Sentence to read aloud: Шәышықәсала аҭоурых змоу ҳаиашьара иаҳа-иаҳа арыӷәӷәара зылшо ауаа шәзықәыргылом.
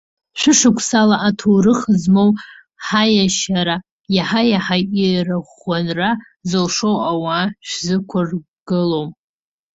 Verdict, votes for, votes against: rejected, 1, 2